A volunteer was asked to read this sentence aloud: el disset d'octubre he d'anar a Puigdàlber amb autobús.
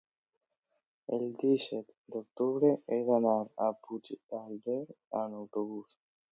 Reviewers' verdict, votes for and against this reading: accepted, 2, 0